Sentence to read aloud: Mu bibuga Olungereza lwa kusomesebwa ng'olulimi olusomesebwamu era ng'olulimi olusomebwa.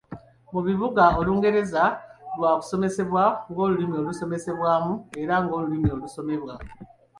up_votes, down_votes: 2, 0